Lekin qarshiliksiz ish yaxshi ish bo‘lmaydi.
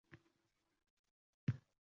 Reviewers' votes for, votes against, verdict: 0, 2, rejected